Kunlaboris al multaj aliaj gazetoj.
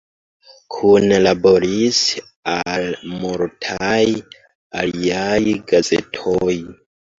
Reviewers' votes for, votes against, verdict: 1, 2, rejected